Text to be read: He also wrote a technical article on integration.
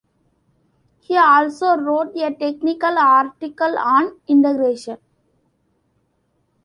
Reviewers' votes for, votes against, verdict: 2, 0, accepted